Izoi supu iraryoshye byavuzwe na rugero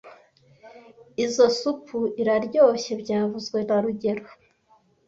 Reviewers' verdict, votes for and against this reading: accepted, 2, 0